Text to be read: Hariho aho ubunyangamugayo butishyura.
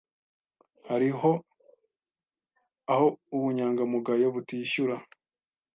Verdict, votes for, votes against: accepted, 2, 0